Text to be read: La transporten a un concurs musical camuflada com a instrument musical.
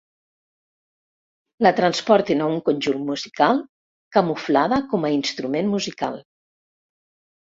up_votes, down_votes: 0, 2